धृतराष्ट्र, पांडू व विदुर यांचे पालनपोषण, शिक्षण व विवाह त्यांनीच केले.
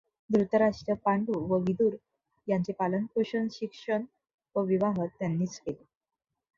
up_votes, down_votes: 2, 0